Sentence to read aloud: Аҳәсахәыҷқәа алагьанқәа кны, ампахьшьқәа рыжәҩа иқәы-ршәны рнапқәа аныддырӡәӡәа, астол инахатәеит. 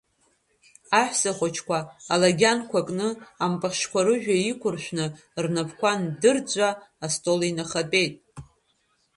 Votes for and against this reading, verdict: 1, 2, rejected